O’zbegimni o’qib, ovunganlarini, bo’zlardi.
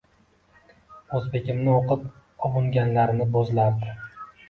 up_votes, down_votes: 2, 0